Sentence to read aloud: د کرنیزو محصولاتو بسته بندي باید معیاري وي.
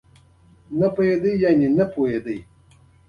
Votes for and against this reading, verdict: 2, 1, accepted